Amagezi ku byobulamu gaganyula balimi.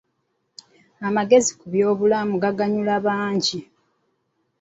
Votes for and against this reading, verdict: 1, 2, rejected